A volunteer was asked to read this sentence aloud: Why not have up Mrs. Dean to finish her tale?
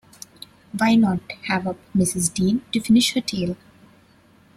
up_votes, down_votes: 2, 0